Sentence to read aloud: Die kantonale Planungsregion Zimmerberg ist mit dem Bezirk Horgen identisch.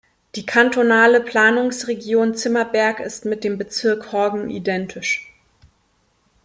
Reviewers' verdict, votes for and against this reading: accepted, 2, 0